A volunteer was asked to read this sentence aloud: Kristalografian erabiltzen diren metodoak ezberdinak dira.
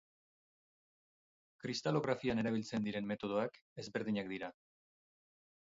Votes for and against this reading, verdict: 6, 0, accepted